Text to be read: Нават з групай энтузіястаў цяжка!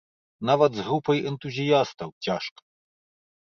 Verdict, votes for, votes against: accepted, 2, 0